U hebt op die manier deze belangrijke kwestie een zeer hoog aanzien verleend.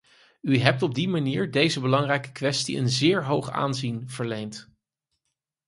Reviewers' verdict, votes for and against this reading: accepted, 4, 0